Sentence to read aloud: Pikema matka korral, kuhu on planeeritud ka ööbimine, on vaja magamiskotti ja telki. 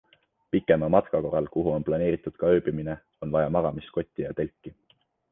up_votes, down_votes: 2, 0